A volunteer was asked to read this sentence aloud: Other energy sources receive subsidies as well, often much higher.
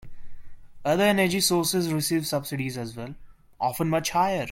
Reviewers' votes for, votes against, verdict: 2, 0, accepted